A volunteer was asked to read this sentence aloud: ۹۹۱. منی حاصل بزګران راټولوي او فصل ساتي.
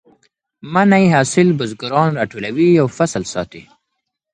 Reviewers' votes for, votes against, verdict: 0, 2, rejected